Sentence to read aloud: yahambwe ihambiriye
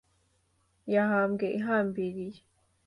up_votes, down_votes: 2, 1